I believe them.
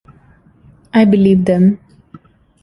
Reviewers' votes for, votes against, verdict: 2, 0, accepted